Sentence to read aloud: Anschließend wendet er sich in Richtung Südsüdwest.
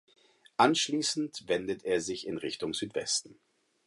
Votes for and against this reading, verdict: 0, 4, rejected